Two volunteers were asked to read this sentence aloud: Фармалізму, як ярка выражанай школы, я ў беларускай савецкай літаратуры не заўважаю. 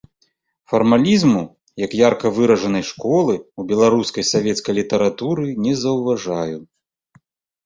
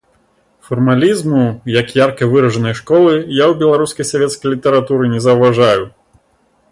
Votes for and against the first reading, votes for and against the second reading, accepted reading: 0, 2, 2, 0, second